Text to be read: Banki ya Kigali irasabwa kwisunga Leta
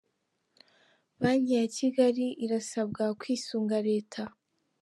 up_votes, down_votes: 3, 0